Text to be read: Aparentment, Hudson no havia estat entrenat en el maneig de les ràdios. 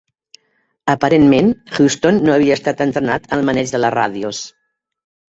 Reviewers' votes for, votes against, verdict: 1, 3, rejected